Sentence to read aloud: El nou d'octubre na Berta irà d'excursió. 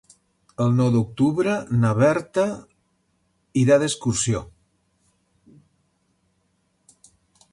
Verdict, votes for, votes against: accepted, 3, 0